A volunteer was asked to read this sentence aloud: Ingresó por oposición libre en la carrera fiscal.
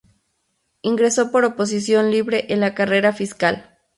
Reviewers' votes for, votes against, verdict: 0, 2, rejected